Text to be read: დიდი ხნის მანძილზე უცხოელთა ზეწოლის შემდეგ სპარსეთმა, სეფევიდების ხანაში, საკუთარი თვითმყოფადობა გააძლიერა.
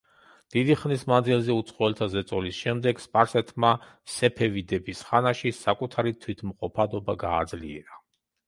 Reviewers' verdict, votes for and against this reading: accepted, 2, 0